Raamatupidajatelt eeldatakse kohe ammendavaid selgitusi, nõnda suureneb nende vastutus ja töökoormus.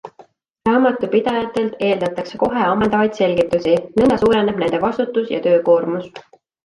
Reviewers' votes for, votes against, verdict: 2, 0, accepted